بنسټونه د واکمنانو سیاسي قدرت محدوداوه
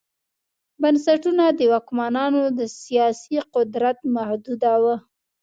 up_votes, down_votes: 2, 0